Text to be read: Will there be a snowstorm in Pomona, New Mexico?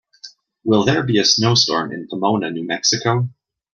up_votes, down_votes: 2, 0